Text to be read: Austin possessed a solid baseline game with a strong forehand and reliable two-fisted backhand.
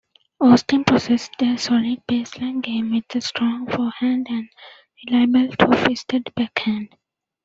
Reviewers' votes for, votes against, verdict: 2, 0, accepted